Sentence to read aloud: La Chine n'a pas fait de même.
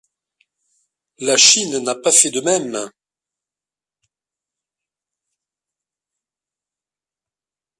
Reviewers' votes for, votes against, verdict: 1, 2, rejected